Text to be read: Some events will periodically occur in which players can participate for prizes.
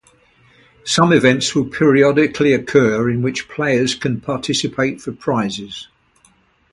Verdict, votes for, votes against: accepted, 4, 0